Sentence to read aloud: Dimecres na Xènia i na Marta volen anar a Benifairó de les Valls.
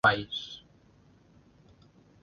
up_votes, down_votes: 0, 2